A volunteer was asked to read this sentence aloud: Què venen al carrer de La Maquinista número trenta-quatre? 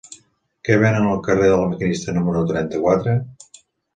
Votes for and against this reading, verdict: 2, 0, accepted